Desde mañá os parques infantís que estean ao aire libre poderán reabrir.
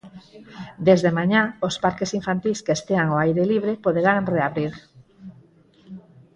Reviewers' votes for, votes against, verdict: 4, 0, accepted